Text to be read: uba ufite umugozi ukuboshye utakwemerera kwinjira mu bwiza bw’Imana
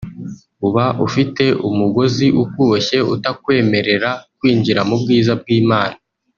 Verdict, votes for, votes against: rejected, 1, 2